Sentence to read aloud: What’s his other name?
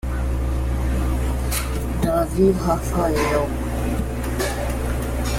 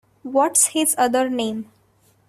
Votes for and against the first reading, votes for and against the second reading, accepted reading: 0, 2, 2, 0, second